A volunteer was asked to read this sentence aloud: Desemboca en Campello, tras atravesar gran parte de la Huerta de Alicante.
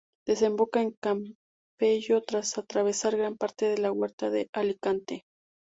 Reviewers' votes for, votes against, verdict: 2, 0, accepted